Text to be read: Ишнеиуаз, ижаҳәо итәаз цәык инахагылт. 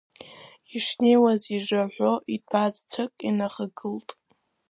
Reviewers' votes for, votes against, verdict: 0, 2, rejected